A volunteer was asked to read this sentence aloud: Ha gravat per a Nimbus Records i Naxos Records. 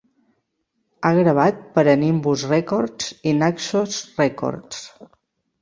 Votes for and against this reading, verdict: 3, 0, accepted